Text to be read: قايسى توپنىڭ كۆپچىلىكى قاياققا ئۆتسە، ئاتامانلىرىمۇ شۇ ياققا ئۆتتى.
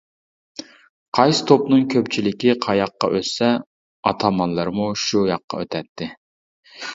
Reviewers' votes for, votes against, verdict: 1, 2, rejected